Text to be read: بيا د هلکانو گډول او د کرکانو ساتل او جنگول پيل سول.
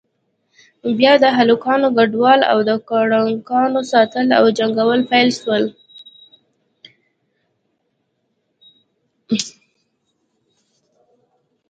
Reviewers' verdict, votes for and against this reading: rejected, 1, 2